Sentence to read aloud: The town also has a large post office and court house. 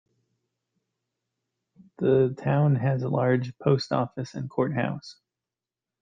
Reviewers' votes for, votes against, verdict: 1, 2, rejected